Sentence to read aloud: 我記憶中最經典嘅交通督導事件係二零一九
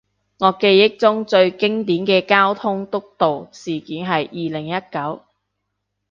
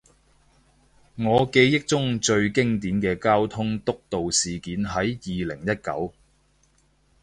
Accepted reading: first